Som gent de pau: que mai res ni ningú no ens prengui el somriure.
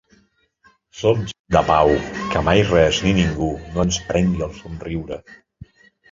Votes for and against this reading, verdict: 0, 2, rejected